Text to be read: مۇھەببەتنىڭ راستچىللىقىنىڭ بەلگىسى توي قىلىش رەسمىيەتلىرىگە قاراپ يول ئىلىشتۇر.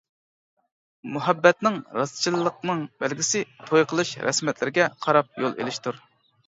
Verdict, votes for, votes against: rejected, 1, 2